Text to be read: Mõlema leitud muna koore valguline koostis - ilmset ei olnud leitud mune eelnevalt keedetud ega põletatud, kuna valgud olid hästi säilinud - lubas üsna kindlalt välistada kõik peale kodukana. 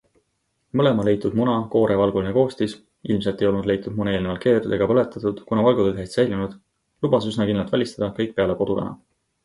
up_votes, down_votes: 2, 0